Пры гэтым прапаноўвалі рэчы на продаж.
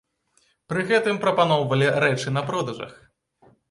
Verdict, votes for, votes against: rejected, 0, 2